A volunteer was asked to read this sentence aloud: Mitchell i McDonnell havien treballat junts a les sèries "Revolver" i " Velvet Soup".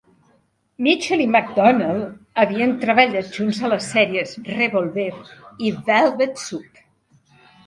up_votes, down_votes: 2, 0